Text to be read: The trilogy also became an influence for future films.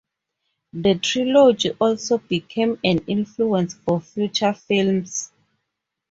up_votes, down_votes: 2, 0